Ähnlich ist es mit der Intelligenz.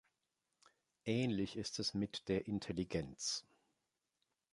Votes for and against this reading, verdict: 2, 0, accepted